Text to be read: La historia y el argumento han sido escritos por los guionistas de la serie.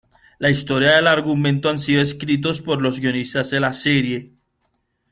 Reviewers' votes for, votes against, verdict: 2, 1, accepted